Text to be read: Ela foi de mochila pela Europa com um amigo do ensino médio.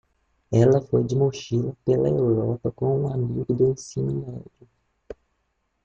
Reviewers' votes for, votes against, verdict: 1, 2, rejected